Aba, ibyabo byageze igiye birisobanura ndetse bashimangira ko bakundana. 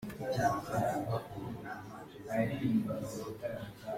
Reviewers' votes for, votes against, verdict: 0, 2, rejected